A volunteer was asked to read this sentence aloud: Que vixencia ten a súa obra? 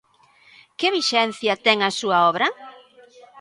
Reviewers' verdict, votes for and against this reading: accepted, 2, 0